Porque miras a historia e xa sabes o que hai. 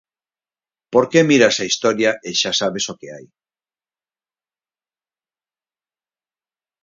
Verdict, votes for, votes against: rejected, 2, 4